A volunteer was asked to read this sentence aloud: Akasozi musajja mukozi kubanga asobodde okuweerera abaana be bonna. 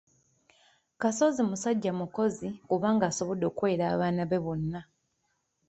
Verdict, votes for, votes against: rejected, 1, 2